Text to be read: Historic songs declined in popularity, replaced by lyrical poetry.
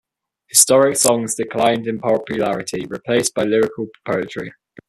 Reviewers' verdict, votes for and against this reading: accepted, 2, 1